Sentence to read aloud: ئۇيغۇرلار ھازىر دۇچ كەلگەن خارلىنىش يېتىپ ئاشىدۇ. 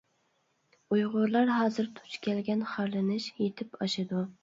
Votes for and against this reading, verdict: 2, 0, accepted